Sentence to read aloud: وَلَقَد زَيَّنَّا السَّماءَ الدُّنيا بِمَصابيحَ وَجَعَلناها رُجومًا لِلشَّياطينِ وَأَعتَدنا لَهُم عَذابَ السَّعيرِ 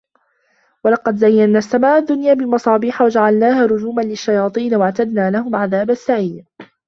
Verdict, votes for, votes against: accepted, 2, 0